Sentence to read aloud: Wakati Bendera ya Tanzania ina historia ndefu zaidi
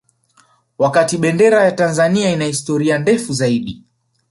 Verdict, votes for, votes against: accepted, 3, 2